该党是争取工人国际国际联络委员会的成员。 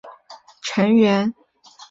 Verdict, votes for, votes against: rejected, 0, 4